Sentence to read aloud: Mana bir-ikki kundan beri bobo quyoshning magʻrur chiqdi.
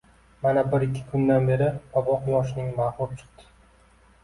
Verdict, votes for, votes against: accepted, 2, 1